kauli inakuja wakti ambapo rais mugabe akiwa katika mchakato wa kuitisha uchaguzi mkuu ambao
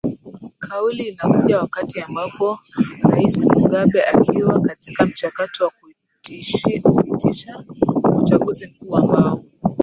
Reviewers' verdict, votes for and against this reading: rejected, 1, 2